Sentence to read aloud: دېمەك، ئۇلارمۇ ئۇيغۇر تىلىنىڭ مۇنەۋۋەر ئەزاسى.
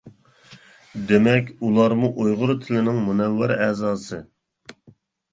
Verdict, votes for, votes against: accepted, 2, 0